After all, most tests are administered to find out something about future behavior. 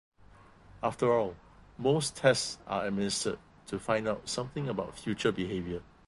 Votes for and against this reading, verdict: 2, 0, accepted